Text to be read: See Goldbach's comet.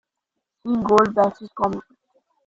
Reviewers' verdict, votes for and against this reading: rejected, 0, 2